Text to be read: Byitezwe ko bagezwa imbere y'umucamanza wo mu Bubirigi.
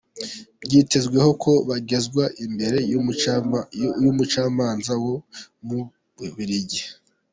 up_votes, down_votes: 0, 2